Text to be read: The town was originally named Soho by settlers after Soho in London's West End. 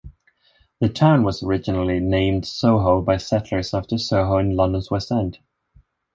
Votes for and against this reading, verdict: 4, 0, accepted